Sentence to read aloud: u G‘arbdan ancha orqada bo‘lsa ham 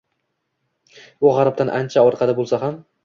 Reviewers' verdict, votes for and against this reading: accepted, 2, 0